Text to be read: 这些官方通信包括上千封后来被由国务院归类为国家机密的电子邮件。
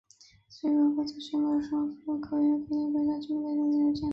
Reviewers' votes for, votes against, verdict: 1, 3, rejected